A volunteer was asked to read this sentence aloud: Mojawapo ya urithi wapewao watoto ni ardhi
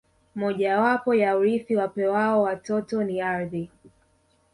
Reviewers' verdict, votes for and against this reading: rejected, 0, 2